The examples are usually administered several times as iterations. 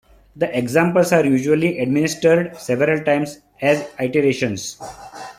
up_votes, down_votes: 2, 0